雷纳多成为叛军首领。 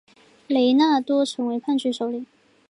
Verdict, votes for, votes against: rejected, 0, 2